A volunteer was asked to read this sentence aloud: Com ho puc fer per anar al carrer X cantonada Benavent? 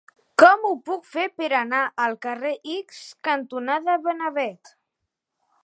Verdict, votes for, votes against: rejected, 0, 2